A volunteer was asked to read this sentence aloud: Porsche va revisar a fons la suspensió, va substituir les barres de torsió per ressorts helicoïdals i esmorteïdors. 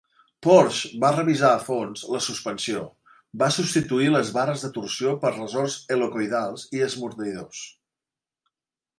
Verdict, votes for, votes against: rejected, 0, 2